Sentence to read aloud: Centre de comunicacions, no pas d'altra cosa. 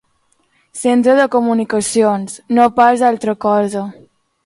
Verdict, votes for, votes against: accepted, 2, 0